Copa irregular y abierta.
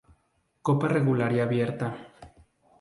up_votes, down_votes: 0, 2